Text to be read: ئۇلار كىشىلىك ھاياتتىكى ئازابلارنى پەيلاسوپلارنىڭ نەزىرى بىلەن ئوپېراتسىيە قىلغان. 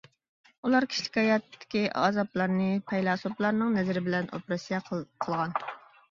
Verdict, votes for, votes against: rejected, 1, 2